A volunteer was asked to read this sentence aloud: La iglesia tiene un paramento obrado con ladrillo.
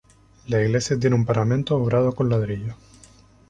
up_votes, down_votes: 2, 0